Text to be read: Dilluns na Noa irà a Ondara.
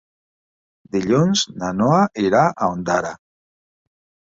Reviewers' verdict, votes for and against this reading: accepted, 3, 0